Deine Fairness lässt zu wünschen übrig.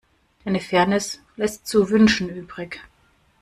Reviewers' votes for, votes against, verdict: 2, 0, accepted